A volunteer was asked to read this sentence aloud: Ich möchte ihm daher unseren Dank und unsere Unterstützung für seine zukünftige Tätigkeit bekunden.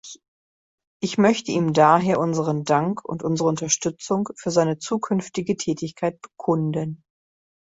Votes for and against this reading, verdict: 2, 0, accepted